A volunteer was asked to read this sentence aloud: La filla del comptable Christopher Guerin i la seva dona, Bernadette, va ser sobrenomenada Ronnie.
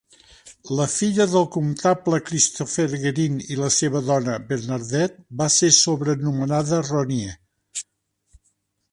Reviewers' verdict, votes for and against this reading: rejected, 1, 2